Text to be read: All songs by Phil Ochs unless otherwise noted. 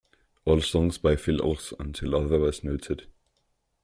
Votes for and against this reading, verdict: 0, 2, rejected